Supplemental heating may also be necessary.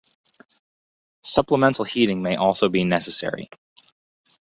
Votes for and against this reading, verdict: 2, 0, accepted